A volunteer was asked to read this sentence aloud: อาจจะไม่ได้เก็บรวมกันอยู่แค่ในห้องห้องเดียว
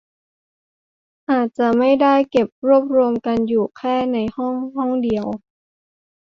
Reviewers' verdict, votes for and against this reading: rejected, 0, 2